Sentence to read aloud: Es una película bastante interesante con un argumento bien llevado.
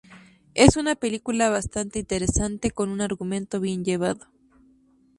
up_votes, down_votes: 0, 2